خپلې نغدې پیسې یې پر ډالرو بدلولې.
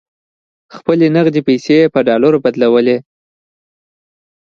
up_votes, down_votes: 2, 0